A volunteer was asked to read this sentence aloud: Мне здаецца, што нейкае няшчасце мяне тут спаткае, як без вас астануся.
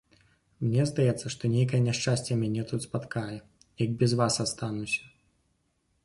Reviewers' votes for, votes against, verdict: 2, 0, accepted